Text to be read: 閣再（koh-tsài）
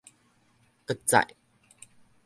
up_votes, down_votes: 0, 2